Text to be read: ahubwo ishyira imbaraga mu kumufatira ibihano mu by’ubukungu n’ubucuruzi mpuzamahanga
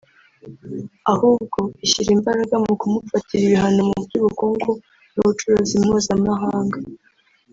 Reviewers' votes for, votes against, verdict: 1, 2, rejected